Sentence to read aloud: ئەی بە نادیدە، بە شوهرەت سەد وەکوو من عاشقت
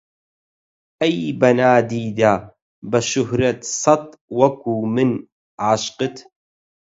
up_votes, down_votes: 4, 0